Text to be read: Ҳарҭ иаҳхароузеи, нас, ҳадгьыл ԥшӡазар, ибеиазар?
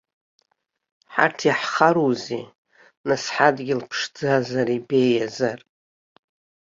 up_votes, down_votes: 2, 0